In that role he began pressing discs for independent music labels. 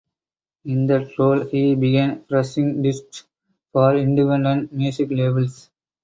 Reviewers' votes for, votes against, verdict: 0, 4, rejected